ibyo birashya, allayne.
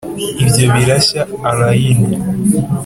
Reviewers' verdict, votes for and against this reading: accepted, 3, 0